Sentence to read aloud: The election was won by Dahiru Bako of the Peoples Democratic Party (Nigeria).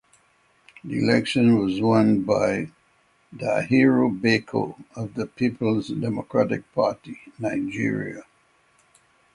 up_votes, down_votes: 6, 0